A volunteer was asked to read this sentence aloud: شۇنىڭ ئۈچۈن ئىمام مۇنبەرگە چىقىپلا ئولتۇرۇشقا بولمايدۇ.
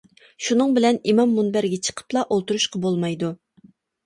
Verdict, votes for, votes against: rejected, 0, 2